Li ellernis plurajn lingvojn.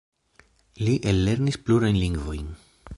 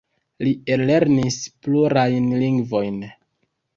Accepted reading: second